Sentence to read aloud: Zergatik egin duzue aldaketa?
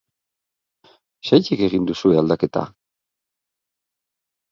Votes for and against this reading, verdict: 3, 6, rejected